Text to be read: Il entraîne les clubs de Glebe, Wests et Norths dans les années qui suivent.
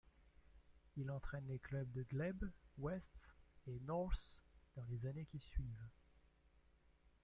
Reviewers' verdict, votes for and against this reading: rejected, 1, 2